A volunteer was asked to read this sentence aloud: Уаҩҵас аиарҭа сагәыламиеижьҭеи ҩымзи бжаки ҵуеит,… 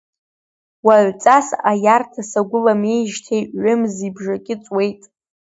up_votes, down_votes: 2, 0